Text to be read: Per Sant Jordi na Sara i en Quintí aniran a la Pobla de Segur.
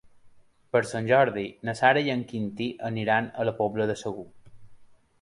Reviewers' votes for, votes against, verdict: 2, 0, accepted